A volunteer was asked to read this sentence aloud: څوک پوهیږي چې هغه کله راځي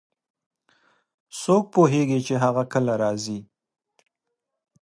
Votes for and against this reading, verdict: 2, 0, accepted